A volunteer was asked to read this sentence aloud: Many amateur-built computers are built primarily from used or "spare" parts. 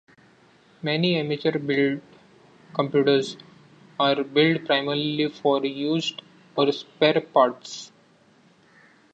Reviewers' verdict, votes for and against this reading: rejected, 0, 2